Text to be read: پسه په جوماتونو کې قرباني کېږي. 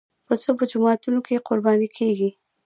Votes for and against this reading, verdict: 1, 2, rejected